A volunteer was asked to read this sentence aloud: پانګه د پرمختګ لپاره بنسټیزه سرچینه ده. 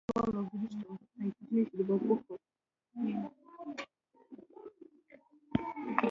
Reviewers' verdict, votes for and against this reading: rejected, 1, 2